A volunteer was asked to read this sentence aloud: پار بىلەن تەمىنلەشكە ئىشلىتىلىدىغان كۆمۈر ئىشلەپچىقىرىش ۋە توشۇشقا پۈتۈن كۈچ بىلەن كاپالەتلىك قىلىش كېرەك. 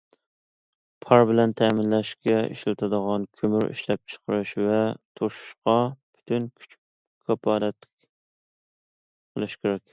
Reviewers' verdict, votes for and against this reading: rejected, 0, 2